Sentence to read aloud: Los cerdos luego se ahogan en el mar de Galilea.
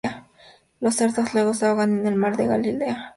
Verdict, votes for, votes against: accepted, 6, 0